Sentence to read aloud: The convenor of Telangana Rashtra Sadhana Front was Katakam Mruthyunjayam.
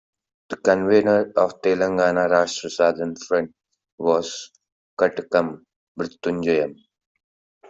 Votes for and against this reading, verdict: 2, 0, accepted